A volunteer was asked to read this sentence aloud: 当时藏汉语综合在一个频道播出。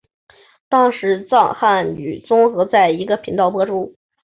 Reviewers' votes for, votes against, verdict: 2, 0, accepted